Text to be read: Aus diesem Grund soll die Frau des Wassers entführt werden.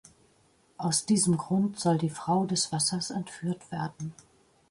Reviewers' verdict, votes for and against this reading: accepted, 2, 0